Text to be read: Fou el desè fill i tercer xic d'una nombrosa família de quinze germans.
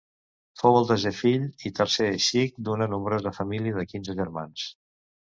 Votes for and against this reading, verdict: 0, 2, rejected